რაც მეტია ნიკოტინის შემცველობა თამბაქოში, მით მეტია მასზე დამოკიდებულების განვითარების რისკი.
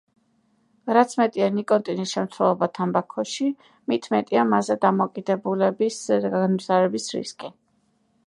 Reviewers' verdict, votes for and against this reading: rejected, 0, 2